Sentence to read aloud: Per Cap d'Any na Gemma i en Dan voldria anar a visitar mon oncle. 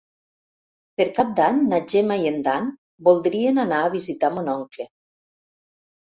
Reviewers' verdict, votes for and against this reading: rejected, 1, 2